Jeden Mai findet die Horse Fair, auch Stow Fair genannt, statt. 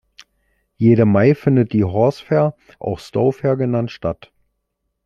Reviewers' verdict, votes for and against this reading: rejected, 1, 2